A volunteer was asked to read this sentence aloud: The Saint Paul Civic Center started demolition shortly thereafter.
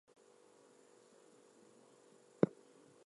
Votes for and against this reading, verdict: 0, 2, rejected